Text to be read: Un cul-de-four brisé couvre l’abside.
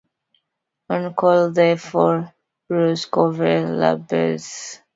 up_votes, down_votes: 0, 2